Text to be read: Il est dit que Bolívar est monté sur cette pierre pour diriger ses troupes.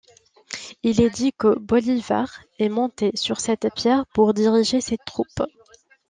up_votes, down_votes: 2, 0